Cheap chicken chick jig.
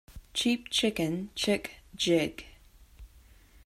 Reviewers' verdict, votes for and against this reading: accepted, 2, 0